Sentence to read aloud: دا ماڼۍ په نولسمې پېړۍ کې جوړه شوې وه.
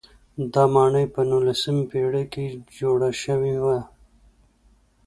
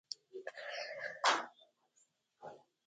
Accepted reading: first